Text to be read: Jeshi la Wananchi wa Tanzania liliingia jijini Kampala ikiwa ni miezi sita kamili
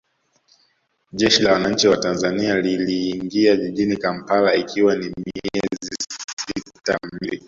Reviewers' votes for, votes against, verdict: 0, 2, rejected